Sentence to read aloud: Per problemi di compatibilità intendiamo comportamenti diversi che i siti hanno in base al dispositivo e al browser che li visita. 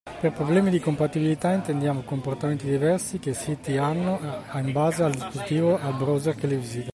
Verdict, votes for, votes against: rejected, 0, 2